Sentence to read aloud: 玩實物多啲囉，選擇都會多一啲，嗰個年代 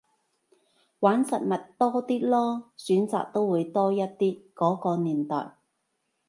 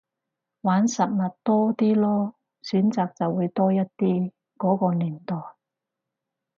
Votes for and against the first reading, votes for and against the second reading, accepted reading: 2, 0, 0, 4, first